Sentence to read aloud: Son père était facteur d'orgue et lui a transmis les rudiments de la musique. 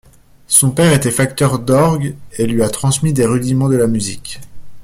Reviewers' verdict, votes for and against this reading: rejected, 0, 2